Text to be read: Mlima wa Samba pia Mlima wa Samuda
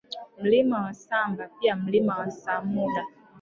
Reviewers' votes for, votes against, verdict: 0, 2, rejected